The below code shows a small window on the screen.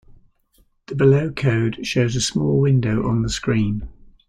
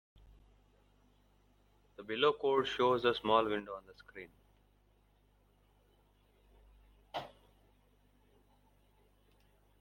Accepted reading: first